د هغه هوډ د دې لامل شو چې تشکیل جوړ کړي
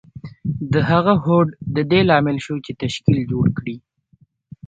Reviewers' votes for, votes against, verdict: 1, 2, rejected